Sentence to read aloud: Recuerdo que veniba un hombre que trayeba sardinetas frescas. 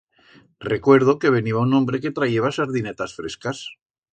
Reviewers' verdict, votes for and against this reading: accepted, 2, 0